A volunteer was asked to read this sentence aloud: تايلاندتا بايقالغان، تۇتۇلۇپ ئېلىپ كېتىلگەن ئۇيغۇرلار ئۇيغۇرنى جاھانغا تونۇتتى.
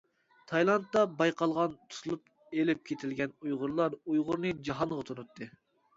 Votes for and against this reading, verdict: 2, 0, accepted